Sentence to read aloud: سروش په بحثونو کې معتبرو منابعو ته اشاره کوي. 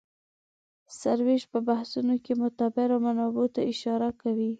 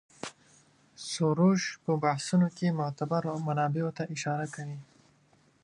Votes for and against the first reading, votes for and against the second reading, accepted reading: 0, 2, 2, 0, second